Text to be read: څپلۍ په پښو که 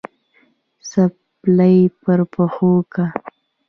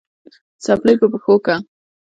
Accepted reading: first